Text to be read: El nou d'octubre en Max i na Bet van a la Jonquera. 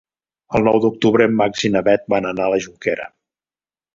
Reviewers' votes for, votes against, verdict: 1, 2, rejected